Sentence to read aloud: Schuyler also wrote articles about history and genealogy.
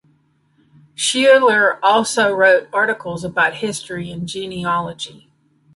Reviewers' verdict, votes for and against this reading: accepted, 2, 1